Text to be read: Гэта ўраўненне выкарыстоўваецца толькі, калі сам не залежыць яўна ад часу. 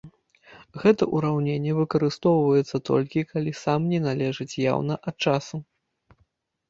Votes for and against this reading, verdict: 1, 2, rejected